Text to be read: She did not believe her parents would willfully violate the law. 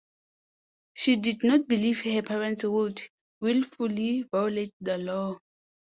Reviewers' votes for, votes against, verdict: 2, 0, accepted